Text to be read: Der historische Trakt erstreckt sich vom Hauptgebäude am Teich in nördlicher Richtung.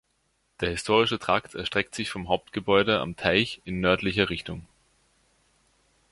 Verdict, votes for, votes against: accepted, 2, 0